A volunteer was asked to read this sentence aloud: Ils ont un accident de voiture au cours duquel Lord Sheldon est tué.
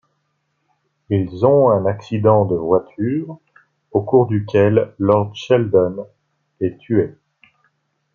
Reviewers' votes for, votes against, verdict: 2, 0, accepted